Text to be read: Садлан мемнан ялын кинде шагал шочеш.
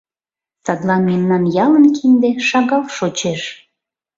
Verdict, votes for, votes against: accepted, 2, 0